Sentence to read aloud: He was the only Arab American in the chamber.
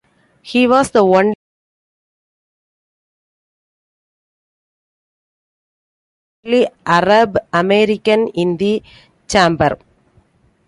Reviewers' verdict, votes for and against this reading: rejected, 0, 2